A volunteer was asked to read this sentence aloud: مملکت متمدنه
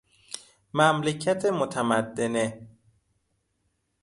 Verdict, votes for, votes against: accepted, 2, 0